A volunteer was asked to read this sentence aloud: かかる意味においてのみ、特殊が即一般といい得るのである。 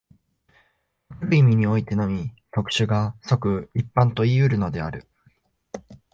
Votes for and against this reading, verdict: 0, 2, rejected